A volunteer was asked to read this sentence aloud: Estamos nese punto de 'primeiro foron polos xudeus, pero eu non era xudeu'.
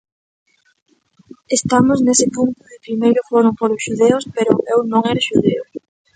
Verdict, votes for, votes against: rejected, 0, 2